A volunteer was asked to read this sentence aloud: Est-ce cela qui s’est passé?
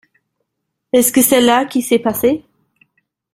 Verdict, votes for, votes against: rejected, 1, 2